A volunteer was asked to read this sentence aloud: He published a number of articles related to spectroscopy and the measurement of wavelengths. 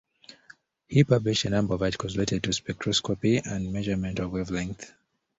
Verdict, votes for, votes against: accepted, 2, 1